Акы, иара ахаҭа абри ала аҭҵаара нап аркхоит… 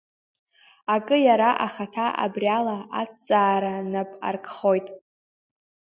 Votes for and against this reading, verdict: 2, 1, accepted